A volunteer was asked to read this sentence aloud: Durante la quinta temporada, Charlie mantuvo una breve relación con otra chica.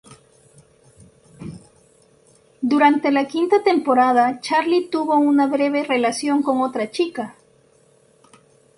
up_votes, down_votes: 0, 4